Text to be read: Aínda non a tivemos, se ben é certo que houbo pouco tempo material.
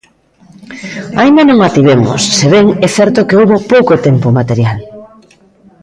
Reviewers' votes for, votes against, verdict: 2, 0, accepted